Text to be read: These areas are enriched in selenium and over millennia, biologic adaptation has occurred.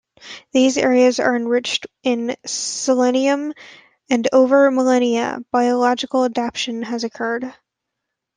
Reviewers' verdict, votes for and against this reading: accepted, 2, 1